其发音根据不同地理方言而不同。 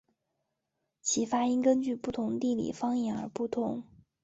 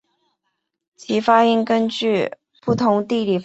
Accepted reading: first